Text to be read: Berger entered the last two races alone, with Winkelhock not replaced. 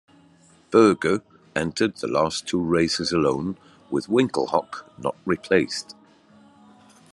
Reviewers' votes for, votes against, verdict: 0, 2, rejected